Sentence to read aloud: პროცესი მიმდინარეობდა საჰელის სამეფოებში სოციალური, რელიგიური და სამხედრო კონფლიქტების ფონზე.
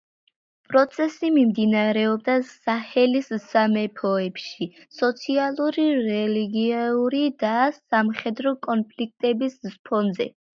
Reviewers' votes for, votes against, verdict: 2, 1, accepted